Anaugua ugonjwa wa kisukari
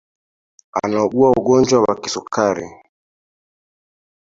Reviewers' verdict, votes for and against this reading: accepted, 2, 1